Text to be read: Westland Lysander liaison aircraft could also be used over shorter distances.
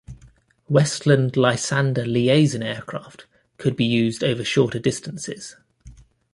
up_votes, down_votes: 0, 2